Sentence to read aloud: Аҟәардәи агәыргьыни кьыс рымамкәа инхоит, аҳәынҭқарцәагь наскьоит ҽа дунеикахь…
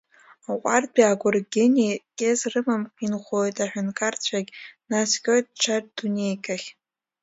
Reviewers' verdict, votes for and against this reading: accepted, 2, 0